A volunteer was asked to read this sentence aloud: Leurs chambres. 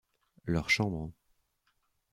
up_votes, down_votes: 2, 0